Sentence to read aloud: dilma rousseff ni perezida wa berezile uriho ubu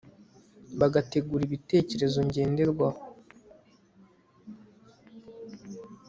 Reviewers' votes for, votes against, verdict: 0, 2, rejected